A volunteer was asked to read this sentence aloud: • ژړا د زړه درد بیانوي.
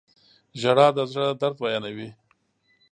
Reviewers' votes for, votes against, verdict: 2, 0, accepted